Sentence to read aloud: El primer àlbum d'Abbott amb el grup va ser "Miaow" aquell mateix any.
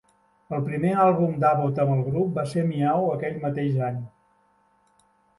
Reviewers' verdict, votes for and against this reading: accepted, 2, 0